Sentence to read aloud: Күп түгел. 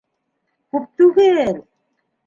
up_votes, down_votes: 2, 1